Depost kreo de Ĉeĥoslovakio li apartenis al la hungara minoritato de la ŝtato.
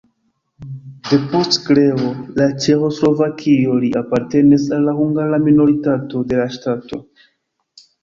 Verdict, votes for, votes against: rejected, 0, 2